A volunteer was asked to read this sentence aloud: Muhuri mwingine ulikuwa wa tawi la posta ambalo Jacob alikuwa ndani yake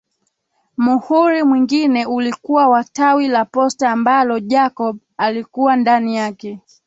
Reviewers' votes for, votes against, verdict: 0, 2, rejected